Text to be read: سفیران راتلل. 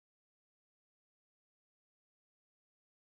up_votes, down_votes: 0, 2